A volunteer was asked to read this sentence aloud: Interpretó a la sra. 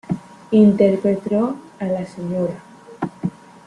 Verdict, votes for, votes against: rejected, 0, 2